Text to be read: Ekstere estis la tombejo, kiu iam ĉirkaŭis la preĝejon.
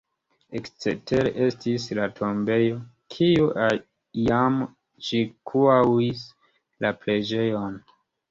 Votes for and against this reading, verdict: 2, 1, accepted